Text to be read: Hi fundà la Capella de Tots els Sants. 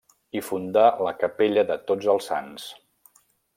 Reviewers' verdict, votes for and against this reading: rejected, 1, 2